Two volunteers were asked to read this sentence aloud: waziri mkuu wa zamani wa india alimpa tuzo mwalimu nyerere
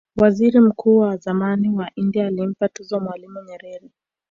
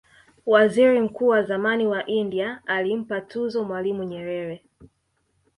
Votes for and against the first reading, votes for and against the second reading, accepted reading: 0, 2, 2, 0, second